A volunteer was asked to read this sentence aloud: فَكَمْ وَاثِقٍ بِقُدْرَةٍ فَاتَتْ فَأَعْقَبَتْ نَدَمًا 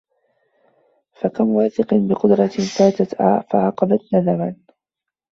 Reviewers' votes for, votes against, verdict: 1, 2, rejected